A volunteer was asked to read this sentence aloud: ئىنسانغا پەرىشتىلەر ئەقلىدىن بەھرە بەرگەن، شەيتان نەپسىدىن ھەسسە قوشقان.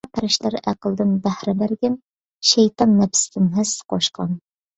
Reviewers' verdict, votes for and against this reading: rejected, 0, 2